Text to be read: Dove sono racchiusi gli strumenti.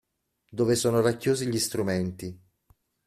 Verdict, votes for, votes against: accepted, 2, 0